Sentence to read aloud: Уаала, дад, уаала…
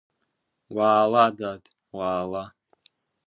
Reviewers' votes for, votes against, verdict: 2, 0, accepted